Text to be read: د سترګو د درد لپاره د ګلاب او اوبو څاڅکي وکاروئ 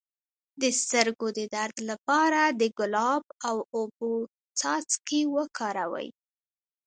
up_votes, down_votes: 1, 2